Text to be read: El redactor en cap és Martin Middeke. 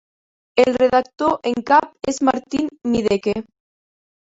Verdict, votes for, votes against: accepted, 2, 0